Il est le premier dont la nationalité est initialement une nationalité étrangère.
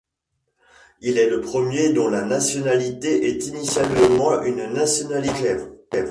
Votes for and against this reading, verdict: 0, 2, rejected